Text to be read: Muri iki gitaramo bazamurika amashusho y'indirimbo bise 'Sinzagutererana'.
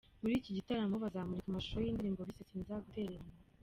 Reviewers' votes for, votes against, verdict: 2, 1, accepted